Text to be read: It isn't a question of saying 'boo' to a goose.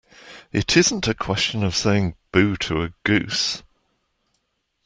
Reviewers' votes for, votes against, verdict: 2, 0, accepted